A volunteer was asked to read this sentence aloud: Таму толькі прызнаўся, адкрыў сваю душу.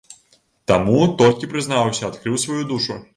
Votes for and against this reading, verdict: 1, 2, rejected